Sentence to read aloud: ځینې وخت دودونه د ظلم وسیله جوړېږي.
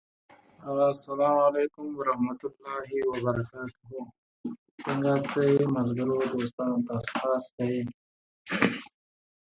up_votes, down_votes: 0, 2